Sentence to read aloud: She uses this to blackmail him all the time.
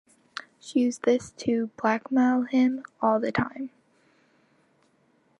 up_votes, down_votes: 0, 2